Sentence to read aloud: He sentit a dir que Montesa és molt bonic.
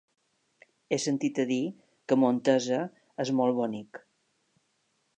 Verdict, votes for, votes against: accepted, 3, 0